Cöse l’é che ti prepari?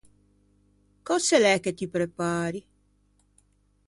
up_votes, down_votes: 2, 0